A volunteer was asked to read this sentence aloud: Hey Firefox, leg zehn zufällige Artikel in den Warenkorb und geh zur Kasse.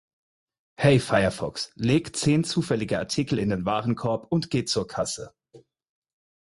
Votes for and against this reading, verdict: 4, 0, accepted